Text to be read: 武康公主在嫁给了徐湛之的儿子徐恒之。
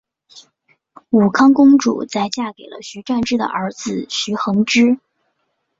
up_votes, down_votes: 5, 0